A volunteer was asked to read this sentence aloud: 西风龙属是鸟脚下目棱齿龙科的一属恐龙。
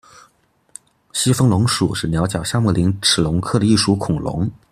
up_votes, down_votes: 2, 0